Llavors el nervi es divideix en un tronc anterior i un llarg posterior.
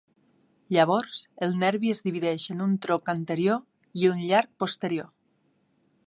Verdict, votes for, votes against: accepted, 2, 1